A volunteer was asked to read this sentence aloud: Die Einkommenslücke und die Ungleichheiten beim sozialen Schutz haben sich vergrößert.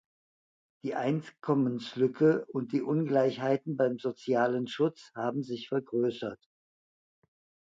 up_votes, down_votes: 2, 0